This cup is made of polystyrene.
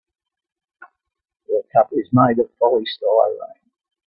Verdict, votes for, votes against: rejected, 0, 2